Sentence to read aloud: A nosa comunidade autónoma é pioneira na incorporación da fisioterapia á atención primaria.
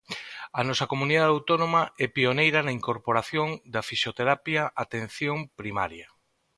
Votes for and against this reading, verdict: 2, 0, accepted